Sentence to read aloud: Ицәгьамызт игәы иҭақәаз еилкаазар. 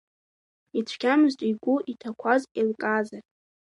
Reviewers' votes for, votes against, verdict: 3, 0, accepted